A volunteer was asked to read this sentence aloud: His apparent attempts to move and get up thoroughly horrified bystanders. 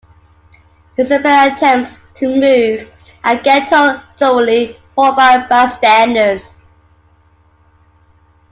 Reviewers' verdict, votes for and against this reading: rejected, 0, 2